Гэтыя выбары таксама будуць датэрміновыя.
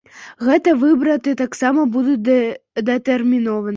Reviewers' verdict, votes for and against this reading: rejected, 0, 2